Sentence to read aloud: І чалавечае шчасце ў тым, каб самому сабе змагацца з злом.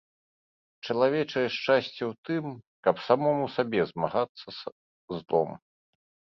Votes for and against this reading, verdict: 0, 2, rejected